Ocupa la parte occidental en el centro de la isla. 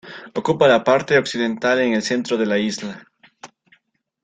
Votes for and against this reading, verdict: 1, 2, rejected